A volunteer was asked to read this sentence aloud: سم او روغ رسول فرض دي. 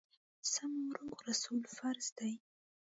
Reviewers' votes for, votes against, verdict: 0, 2, rejected